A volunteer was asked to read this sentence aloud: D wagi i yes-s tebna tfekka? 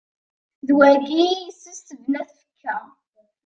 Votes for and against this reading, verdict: 1, 2, rejected